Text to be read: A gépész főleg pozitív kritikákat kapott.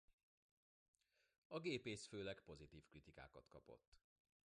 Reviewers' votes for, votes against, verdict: 2, 1, accepted